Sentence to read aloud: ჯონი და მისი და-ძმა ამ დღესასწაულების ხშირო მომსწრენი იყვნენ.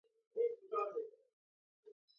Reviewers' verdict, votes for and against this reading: rejected, 1, 2